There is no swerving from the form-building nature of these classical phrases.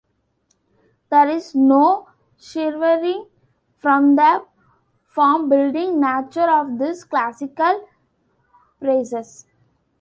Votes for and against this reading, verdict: 1, 2, rejected